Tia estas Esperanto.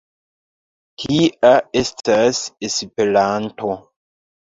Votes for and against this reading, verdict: 1, 2, rejected